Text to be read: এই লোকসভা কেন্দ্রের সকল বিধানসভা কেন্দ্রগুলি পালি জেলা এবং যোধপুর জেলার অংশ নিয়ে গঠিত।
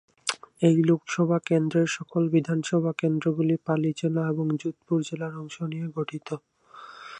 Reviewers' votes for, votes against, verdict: 0, 2, rejected